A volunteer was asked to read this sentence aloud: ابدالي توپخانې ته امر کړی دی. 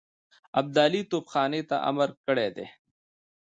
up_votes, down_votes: 0, 2